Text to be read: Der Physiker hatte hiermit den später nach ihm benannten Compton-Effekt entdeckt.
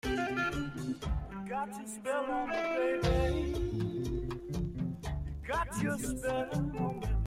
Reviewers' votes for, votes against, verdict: 0, 2, rejected